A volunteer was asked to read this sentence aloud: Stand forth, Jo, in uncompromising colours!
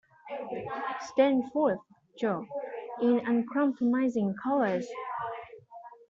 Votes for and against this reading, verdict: 2, 1, accepted